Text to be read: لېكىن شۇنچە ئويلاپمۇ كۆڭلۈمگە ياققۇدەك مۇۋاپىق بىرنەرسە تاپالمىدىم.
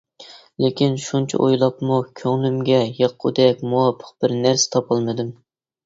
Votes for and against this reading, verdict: 2, 0, accepted